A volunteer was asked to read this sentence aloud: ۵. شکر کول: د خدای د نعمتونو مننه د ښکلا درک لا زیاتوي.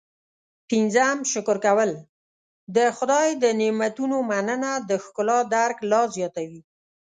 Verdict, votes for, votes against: rejected, 0, 2